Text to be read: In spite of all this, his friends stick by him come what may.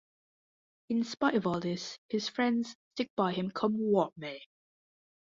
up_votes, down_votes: 0, 2